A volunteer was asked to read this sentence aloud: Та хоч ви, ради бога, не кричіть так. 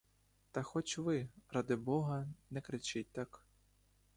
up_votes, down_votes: 2, 0